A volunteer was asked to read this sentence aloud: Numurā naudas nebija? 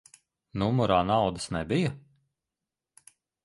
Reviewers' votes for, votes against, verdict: 2, 0, accepted